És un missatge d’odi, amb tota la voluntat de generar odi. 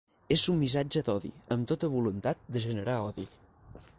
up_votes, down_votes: 0, 6